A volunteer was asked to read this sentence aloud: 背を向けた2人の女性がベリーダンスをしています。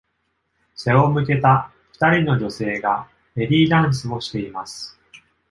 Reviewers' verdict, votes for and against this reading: rejected, 0, 2